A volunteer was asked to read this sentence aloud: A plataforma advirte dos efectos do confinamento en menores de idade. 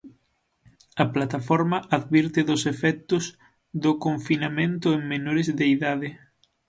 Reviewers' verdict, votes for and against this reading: accepted, 6, 0